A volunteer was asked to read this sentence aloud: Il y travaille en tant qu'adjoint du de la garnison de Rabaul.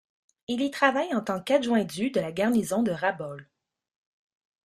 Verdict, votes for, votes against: accepted, 3, 0